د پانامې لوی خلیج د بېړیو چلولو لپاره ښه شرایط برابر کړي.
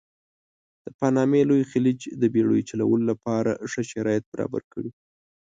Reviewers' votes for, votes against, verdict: 2, 0, accepted